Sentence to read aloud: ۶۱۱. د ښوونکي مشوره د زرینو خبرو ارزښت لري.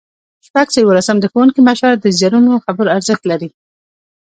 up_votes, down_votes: 0, 2